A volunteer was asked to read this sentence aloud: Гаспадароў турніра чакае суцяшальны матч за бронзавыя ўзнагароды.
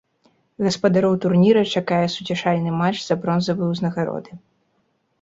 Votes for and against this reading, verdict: 2, 0, accepted